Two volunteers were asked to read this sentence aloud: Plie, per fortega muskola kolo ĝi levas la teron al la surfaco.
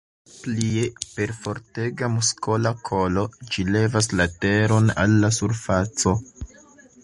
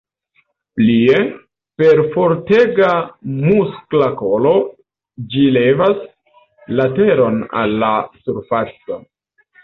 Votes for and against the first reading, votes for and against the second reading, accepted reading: 2, 0, 1, 2, first